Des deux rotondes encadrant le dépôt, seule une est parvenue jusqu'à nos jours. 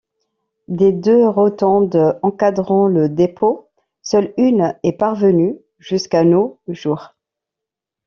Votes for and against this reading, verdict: 2, 0, accepted